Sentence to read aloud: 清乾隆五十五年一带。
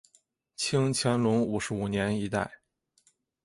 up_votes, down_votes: 3, 0